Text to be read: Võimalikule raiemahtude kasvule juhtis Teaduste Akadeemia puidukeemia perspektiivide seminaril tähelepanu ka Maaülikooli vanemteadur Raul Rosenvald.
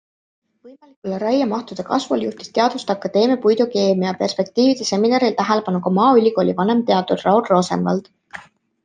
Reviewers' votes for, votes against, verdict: 2, 0, accepted